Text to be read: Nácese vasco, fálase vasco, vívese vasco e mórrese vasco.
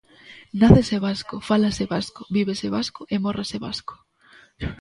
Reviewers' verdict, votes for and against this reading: accepted, 2, 0